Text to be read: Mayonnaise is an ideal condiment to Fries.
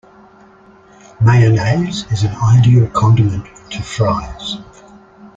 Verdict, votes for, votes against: accepted, 2, 0